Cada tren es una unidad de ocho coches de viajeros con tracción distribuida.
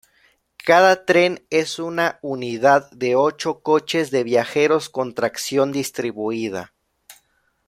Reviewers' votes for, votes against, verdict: 2, 0, accepted